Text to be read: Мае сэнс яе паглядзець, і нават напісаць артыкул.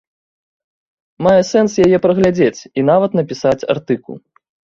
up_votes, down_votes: 1, 3